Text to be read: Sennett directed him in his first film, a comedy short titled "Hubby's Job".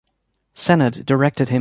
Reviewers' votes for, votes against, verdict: 0, 2, rejected